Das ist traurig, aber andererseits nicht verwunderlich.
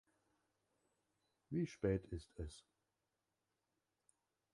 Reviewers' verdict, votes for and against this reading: rejected, 0, 2